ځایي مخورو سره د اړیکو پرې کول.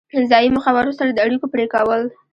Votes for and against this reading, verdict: 1, 2, rejected